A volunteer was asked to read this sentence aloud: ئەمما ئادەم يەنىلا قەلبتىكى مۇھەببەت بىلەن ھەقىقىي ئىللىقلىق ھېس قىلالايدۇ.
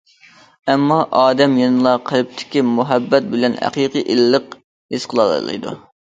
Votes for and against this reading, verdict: 1, 2, rejected